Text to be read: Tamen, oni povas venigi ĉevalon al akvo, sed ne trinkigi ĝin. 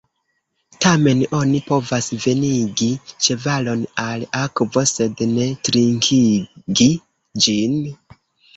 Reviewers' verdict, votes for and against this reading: rejected, 1, 2